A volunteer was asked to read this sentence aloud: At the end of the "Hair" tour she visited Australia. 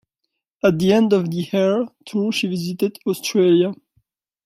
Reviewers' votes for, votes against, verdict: 2, 0, accepted